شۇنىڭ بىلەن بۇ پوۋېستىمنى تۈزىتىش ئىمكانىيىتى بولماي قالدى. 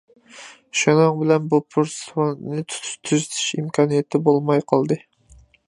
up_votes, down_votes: 0, 2